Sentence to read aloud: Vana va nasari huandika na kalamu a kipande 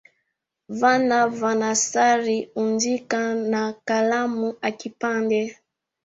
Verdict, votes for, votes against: rejected, 0, 2